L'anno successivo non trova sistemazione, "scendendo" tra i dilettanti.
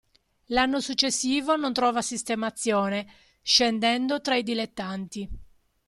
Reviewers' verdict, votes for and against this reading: accepted, 2, 0